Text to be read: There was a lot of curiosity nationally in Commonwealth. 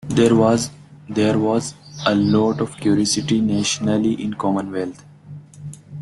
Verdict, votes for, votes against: rejected, 0, 2